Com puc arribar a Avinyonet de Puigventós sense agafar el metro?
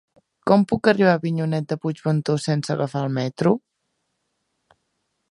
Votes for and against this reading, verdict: 2, 0, accepted